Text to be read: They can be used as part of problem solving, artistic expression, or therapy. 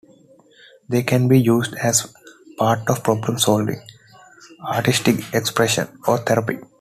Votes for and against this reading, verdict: 2, 0, accepted